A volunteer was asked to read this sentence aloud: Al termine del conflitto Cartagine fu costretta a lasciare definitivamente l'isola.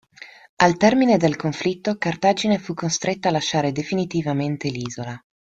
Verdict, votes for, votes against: accepted, 2, 0